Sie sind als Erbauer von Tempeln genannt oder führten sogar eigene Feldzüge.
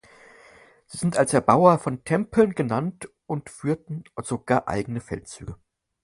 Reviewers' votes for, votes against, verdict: 0, 4, rejected